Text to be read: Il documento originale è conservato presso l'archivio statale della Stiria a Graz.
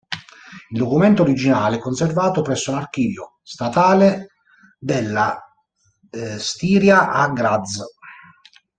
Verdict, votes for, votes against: rejected, 1, 2